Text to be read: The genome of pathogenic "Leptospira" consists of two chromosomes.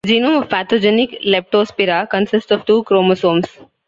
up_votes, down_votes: 0, 2